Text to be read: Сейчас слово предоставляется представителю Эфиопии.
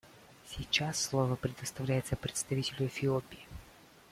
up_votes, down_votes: 2, 0